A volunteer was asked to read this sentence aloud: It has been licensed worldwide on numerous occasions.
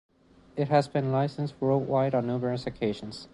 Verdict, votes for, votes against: accepted, 2, 0